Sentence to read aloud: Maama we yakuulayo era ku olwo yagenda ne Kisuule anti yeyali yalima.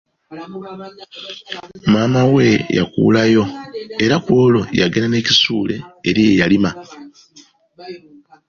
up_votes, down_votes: 0, 2